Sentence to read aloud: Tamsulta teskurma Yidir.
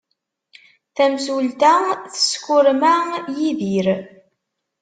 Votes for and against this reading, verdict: 2, 0, accepted